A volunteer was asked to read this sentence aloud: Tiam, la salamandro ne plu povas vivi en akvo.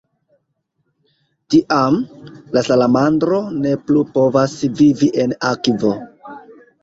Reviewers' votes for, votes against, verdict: 2, 1, accepted